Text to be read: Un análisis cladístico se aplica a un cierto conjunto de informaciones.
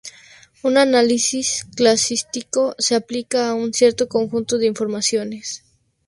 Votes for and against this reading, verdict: 0, 2, rejected